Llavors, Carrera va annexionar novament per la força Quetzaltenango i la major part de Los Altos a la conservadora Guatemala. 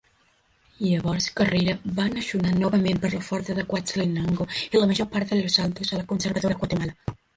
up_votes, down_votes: 2, 1